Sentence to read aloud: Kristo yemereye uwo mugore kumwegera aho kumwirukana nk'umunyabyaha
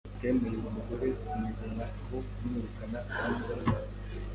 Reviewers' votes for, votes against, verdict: 1, 2, rejected